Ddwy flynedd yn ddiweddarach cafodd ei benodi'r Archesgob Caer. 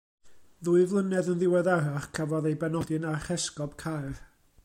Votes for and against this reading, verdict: 0, 2, rejected